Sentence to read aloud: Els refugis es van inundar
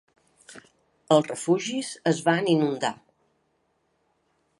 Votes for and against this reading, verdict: 2, 0, accepted